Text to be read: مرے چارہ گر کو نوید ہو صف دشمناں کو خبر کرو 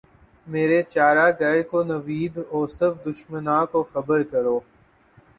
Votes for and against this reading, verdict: 2, 1, accepted